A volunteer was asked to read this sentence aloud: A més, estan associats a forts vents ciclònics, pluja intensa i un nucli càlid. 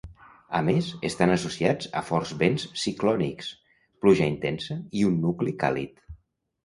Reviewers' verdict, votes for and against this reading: accepted, 2, 0